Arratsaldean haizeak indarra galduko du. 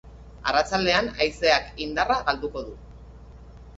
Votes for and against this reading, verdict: 3, 0, accepted